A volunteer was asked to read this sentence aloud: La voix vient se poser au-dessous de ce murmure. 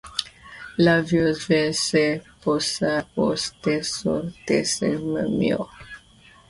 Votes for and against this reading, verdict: 0, 2, rejected